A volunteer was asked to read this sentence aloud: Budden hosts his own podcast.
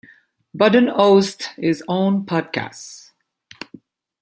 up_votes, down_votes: 1, 2